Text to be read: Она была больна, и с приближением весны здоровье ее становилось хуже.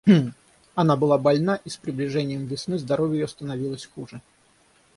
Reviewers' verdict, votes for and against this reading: rejected, 3, 6